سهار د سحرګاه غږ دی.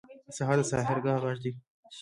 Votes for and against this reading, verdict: 0, 3, rejected